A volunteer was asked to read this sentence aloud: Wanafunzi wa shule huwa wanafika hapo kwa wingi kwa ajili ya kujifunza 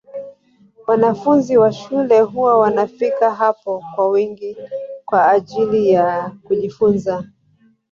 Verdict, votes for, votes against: rejected, 2, 3